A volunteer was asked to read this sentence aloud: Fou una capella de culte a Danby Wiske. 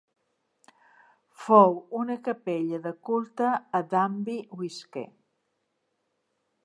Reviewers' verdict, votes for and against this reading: accepted, 2, 0